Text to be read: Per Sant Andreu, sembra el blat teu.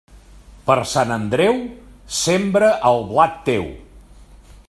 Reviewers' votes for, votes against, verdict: 3, 1, accepted